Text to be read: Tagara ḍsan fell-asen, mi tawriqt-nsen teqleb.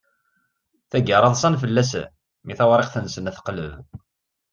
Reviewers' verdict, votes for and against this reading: accepted, 2, 0